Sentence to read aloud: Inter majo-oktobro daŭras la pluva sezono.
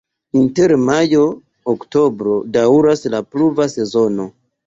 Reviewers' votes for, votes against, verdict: 2, 0, accepted